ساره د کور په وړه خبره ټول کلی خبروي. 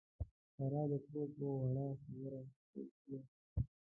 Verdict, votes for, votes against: rejected, 1, 2